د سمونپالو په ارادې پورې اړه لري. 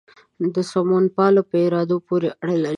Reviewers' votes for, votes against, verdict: 1, 2, rejected